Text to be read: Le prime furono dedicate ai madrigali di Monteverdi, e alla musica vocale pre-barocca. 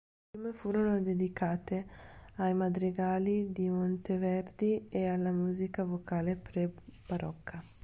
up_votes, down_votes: 1, 2